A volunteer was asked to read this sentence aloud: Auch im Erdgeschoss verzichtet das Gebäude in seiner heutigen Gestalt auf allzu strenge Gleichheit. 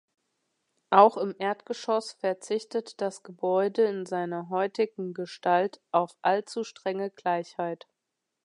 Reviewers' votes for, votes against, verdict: 2, 0, accepted